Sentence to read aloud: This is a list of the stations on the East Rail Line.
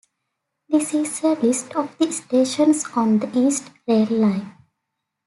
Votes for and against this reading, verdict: 2, 0, accepted